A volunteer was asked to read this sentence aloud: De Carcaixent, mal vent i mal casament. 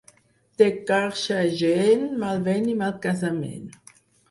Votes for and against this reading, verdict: 2, 6, rejected